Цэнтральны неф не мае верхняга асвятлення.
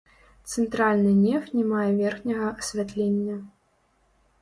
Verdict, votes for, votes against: rejected, 0, 2